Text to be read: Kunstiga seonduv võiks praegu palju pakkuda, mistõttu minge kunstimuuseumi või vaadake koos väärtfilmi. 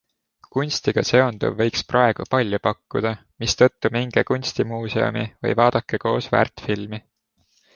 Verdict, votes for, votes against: accepted, 2, 0